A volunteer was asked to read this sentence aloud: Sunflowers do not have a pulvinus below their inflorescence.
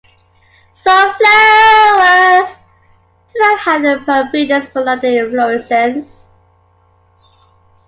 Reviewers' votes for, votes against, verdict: 0, 2, rejected